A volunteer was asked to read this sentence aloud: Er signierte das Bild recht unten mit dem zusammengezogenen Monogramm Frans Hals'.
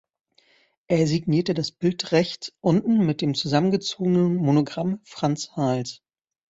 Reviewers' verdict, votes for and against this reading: rejected, 0, 2